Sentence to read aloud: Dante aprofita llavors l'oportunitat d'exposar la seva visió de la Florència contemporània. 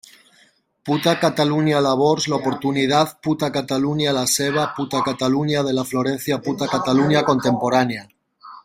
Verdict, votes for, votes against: rejected, 0, 2